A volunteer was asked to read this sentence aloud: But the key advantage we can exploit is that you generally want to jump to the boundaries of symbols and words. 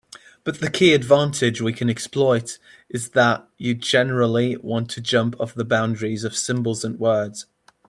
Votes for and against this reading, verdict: 0, 2, rejected